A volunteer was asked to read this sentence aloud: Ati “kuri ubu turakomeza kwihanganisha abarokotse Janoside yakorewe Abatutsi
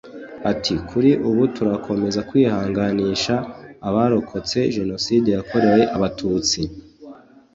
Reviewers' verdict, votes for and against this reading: accepted, 2, 0